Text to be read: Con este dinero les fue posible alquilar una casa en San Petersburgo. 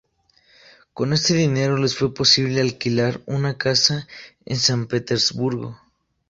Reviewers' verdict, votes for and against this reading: rejected, 0, 2